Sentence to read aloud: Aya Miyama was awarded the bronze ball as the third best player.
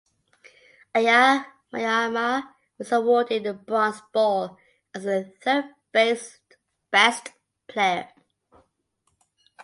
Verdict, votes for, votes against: rejected, 0, 2